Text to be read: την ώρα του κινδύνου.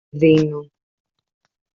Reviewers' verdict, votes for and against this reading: rejected, 0, 2